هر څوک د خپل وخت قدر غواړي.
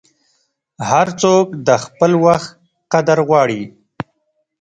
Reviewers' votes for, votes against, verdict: 2, 0, accepted